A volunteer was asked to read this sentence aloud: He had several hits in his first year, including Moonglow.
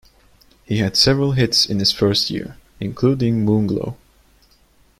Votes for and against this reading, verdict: 2, 0, accepted